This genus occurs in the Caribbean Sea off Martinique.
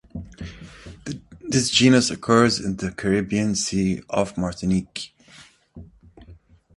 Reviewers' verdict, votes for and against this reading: accepted, 2, 1